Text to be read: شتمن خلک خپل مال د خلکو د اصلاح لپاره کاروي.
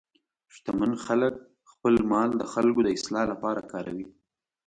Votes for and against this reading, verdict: 2, 0, accepted